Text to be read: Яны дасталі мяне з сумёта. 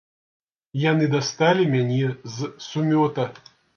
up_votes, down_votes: 0, 2